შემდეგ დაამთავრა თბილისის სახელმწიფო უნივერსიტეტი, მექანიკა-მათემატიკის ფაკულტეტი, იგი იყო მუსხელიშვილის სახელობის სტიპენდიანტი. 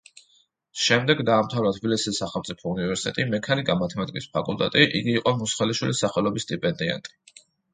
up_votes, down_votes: 2, 0